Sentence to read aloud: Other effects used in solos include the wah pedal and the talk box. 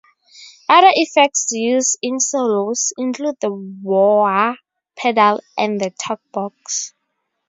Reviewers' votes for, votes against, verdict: 2, 0, accepted